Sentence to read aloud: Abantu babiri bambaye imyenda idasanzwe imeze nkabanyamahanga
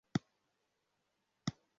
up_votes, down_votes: 0, 2